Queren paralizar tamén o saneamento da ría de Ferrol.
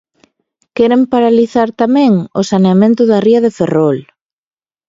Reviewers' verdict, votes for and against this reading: accepted, 2, 0